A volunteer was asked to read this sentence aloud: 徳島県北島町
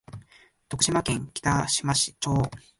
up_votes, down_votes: 0, 2